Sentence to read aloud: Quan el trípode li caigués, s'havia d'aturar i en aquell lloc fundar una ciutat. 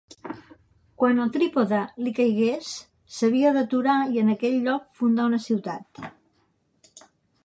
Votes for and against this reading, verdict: 2, 0, accepted